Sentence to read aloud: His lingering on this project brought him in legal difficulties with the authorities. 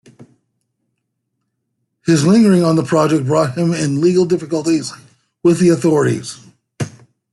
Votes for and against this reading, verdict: 2, 0, accepted